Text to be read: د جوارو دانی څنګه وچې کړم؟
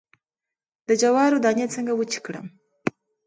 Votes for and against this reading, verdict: 2, 0, accepted